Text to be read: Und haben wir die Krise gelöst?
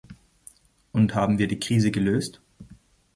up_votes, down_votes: 2, 0